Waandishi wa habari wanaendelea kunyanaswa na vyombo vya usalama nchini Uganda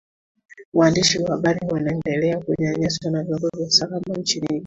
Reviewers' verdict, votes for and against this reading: rejected, 0, 2